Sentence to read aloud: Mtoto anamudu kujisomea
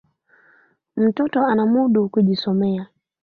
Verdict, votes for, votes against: rejected, 0, 2